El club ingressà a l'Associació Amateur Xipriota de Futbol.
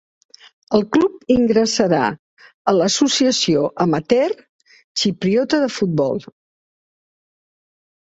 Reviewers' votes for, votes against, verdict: 1, 2, rejected